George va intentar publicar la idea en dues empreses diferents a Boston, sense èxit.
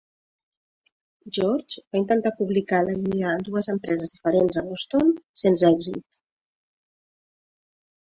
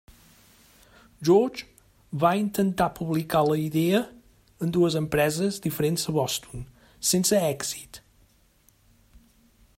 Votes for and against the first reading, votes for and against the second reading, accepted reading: 1, 2, 3, 0, second